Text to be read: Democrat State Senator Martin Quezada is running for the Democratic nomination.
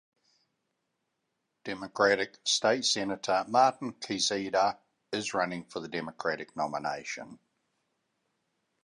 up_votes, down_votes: 2, 1